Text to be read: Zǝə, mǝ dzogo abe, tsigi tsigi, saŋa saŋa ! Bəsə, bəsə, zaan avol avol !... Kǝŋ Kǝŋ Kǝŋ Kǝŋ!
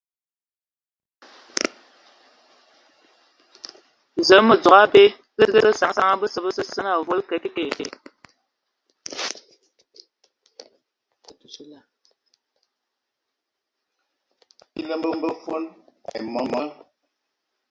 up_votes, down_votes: 0, 3